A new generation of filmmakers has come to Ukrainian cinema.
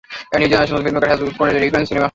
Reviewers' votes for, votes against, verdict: 0, 2, rejected